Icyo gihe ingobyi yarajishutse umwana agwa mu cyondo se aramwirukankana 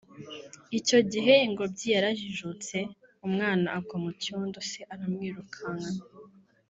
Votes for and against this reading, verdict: 1, 2, rejected